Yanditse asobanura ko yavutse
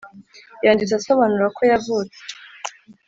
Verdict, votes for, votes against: accepted, 3, 0